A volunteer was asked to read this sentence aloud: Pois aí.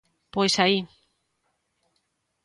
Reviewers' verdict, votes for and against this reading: accepted, 2, 0